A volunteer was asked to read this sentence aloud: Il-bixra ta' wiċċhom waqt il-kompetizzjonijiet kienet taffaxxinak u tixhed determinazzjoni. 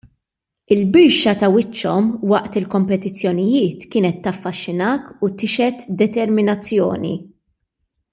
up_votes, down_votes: 0, 2